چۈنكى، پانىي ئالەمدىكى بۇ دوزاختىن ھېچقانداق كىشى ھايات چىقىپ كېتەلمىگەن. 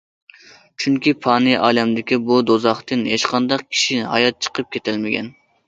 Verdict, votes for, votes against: accepted, 2, 0